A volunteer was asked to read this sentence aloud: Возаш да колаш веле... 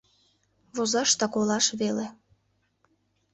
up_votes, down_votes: 2, 0